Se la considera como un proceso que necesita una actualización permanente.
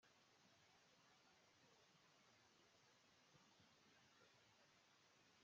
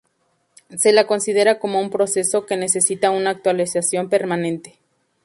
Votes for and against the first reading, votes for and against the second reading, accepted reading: 0, 2, 2, 0, second